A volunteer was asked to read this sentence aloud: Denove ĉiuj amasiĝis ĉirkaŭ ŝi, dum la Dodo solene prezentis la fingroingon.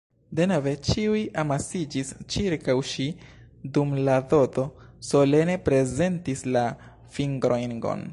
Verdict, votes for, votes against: rejected, 0, 2